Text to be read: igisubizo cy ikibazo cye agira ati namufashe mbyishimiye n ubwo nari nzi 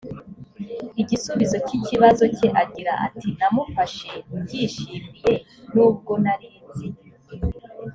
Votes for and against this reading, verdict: 2, 0, accepted